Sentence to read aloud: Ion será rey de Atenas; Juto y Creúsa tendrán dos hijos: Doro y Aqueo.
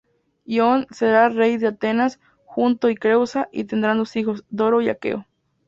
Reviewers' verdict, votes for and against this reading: rejected, 2, 4